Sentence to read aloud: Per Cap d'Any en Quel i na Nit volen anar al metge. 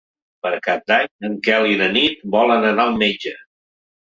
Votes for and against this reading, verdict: 3, 0, accepted